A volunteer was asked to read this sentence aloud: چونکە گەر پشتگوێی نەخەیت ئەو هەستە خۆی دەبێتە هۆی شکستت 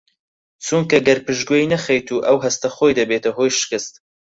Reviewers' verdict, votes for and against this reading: rejected, 0, 4